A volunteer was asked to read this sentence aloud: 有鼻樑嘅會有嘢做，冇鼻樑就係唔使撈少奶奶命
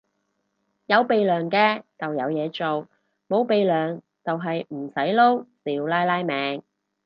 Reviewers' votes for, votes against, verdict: 0, 2, rejected